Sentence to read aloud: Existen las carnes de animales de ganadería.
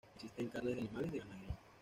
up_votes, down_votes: 1, 2